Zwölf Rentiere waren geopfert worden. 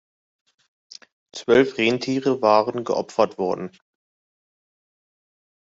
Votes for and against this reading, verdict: 2, 0, accepted